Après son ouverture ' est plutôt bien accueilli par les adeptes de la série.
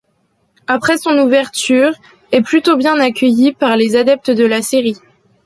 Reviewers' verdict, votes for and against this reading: accepted, 2, 1